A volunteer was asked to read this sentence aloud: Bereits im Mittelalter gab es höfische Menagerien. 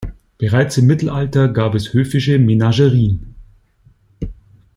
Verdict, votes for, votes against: accepted, 2, 0